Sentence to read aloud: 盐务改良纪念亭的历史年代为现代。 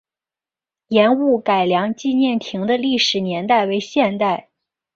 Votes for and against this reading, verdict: 5, 0, accepted